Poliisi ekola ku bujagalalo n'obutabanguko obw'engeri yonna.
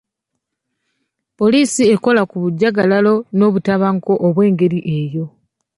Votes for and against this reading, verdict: 0, 2, rejected